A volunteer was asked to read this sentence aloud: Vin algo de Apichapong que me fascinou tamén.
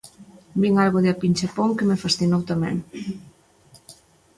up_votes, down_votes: 1, 2